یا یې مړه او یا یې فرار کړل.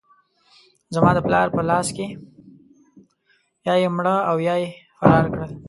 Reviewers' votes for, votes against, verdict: 0, 2, rejected